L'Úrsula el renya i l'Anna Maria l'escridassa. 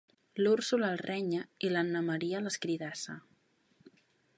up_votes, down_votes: 2, 0